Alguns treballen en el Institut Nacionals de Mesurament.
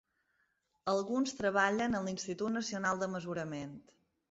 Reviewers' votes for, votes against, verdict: 1, 2, rejected